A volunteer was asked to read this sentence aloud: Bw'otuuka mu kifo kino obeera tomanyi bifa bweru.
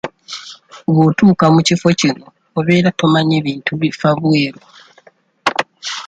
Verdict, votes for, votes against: rejected, 1, 2